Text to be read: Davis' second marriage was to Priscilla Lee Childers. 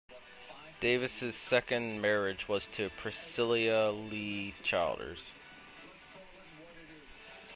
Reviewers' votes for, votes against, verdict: 0, 2, rejected